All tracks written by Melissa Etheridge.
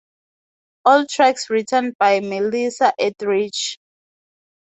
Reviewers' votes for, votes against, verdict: 2, 0, accepted